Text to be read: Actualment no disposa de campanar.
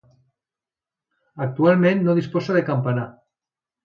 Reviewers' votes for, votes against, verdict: 2, 0, accepted